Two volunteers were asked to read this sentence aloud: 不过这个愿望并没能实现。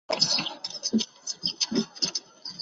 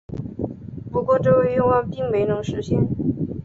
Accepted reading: second